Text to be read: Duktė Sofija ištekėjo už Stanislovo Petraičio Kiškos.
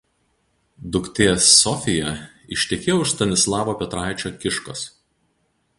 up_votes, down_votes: 2, 4